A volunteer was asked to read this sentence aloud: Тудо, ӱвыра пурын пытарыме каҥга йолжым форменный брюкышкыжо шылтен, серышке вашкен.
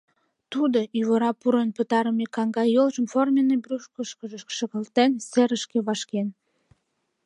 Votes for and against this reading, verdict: 1, 2, rejected